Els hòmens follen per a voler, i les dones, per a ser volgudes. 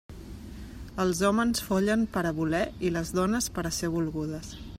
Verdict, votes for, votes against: accepted, 2, 0